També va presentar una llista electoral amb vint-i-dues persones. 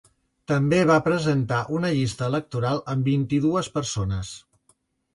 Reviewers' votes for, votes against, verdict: 3, 0, accepted